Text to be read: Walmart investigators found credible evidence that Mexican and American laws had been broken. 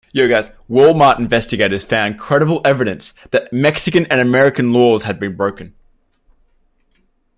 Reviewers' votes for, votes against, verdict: 1, 2, rejected